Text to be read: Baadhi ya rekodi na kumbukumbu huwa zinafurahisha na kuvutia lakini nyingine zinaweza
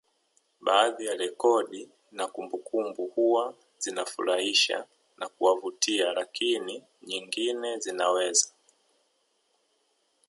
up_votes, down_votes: 0, 2